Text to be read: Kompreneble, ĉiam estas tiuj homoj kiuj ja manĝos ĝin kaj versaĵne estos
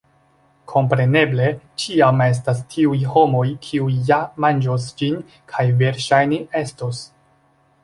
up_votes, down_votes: 2, 0